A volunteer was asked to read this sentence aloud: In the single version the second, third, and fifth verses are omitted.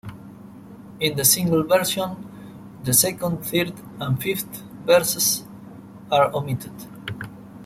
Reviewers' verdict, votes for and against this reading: accepted, 2, 0